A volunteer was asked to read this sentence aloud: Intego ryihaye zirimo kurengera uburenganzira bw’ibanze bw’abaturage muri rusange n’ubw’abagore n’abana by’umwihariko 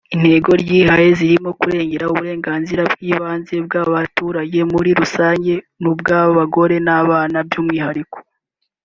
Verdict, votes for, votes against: accepted, 2, 1